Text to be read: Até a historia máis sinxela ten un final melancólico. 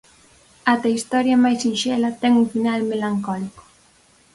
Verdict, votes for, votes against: accepted, 4, 0